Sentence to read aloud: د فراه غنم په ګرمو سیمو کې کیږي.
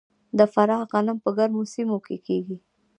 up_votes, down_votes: 3, 1